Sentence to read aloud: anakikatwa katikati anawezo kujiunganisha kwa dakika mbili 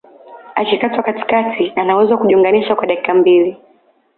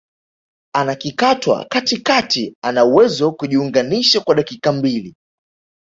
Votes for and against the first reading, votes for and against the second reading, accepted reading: 1, 2, 2, 0, second